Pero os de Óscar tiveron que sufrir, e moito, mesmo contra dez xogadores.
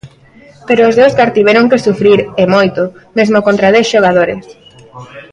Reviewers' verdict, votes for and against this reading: rejected, 1, 2